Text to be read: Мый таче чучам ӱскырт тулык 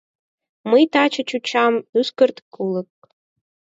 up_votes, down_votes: 0, 4